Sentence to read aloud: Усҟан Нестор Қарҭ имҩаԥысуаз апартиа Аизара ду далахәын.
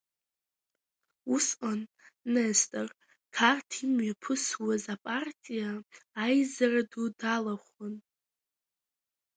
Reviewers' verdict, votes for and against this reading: rejected, 0, 2